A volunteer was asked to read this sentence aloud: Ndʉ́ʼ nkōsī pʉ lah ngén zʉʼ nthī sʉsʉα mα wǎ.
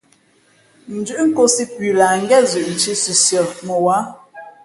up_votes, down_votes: 2, 0